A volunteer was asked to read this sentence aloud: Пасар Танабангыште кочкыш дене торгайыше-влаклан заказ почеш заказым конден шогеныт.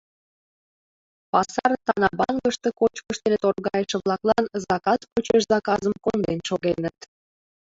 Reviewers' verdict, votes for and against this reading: rejected, 1, 2